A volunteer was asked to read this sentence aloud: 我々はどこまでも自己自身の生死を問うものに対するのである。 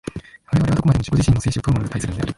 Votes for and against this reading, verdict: 0, 2, rejected